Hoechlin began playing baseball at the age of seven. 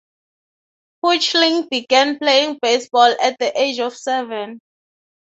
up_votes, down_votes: 3, 0